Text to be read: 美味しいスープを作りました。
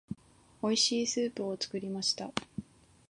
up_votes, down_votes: 2, 0